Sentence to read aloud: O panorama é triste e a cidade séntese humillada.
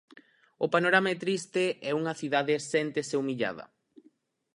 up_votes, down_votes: 0, 4